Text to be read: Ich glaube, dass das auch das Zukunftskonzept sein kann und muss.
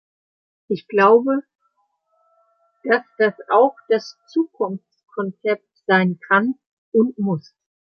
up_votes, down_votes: 2, 1